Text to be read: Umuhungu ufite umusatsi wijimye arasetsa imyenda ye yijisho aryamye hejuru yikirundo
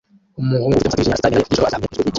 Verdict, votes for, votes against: rejected, 0, 2